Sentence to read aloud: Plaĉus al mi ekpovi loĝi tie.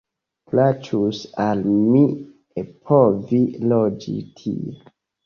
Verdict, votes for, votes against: accepted, 2, 0